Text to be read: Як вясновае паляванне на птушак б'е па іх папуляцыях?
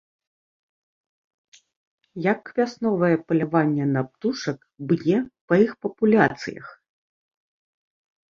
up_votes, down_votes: 2, 0